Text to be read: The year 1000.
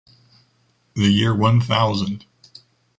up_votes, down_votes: 0, 2